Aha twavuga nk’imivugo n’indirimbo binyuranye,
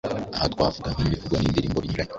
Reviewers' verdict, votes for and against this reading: rejected, 1, 2